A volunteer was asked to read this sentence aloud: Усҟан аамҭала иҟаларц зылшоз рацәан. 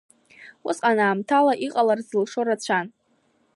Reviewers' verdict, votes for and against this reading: rejected, 1, 2